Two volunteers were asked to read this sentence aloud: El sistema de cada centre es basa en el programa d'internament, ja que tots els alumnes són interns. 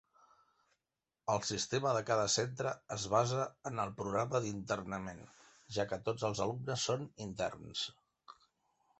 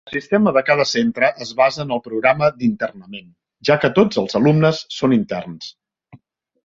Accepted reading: first